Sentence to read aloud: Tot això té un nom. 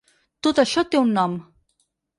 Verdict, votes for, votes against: rejected, 2, 4